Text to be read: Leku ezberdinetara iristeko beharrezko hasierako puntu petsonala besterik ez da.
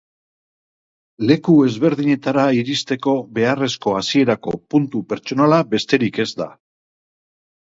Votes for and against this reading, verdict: 2, 0, accepted